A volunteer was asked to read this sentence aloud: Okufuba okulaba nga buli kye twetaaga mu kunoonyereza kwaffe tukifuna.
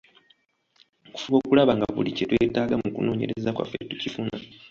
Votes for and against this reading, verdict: 2, 1, accepted